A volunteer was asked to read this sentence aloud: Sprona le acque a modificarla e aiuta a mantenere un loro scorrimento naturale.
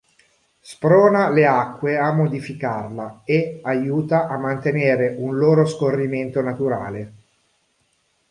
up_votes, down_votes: 1, 2